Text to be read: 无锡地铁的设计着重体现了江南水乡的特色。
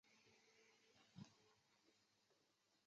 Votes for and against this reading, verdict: 0, 5, rejected